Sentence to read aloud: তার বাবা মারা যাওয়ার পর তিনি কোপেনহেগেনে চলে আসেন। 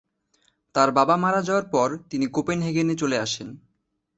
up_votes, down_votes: 14, 1